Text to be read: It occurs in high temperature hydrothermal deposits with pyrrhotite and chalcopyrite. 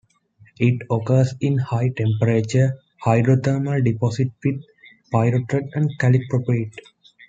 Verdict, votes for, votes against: accepted, 2, 1